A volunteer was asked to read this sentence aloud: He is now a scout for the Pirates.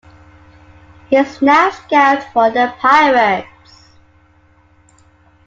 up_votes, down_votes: 1, 2